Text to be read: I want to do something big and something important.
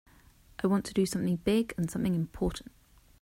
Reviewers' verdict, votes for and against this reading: accepted, 2, 0